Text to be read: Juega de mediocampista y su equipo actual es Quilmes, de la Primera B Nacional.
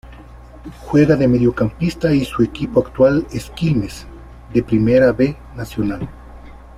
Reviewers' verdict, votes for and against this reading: rejected, 1, 2